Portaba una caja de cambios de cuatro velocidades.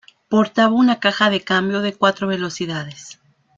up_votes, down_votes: 2, 1